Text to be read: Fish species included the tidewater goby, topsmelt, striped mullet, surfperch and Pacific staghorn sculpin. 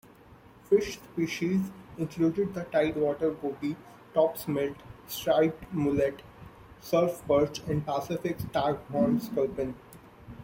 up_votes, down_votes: 1, 2